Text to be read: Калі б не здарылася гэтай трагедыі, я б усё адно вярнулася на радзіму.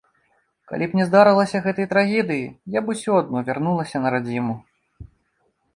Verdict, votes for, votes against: accepted, 2, 0